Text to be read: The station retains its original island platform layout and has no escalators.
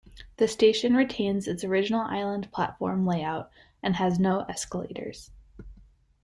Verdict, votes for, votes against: accepted, 2, 0